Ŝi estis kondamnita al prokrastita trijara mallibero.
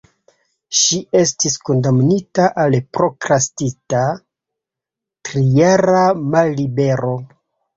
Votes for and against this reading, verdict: 1, 2, rejected